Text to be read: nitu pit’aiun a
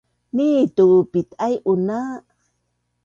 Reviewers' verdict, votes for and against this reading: accepted, 2, 0